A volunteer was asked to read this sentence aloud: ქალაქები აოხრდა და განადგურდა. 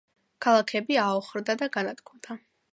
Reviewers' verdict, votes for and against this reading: accepted, 2, 0